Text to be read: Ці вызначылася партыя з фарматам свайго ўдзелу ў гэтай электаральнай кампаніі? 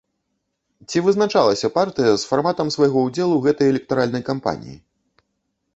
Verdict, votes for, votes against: rejected, 0, 2